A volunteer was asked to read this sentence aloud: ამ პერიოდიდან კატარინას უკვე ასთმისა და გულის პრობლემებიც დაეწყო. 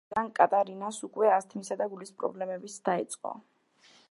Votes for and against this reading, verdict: 1, 2, rejected